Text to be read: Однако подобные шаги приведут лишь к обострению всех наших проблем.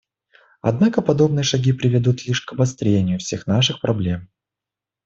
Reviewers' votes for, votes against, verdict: 2, 0, accepted